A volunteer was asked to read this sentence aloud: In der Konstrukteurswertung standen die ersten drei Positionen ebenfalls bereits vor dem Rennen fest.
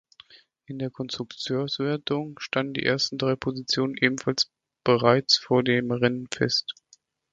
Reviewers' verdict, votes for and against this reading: rejected, 0, 2